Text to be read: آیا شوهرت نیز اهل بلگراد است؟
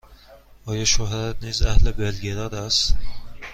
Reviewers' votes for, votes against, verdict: 2, 0, accepted